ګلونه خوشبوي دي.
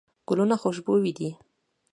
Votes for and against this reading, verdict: 2, 0, accepted